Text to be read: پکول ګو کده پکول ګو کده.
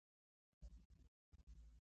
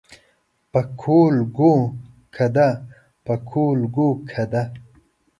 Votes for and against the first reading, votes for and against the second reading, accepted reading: 2, 1, 1, 2, first